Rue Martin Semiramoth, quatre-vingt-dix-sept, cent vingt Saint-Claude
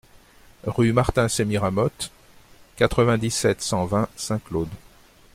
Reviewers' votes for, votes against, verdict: 2, 0, accepted